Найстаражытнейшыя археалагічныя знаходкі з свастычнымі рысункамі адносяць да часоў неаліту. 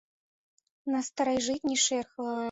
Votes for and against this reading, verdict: 0, 2, rejected